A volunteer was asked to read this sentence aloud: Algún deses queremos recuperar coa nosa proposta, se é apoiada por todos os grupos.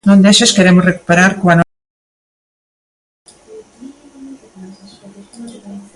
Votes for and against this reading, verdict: 0, 2, rejected